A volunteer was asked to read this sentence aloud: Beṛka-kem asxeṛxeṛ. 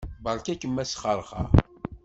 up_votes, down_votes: 2, 0